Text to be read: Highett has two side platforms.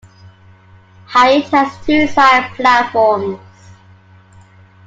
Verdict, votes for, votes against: rejected, 1, 2